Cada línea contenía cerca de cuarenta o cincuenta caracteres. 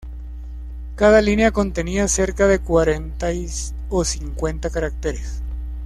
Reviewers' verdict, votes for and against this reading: rejected, 1, 2